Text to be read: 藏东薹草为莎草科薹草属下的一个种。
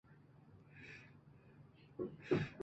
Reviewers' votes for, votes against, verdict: 0, 3, rejected